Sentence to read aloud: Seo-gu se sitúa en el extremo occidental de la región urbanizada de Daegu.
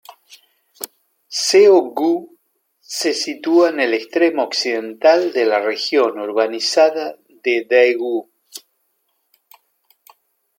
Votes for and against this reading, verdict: 2, 1, accepted